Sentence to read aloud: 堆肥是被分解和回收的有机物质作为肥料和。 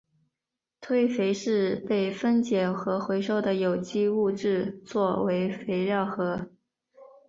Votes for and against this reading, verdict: 2, 0, accepted